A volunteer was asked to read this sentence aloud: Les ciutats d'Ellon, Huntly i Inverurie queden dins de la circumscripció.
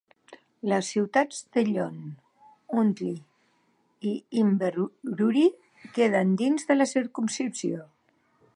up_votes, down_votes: 1, 2